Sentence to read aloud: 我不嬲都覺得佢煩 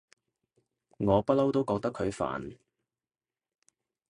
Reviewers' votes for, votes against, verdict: 2, 0, accepted